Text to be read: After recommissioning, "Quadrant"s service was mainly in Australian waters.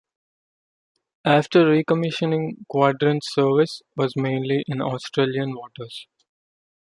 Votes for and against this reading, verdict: 2, 0, accepted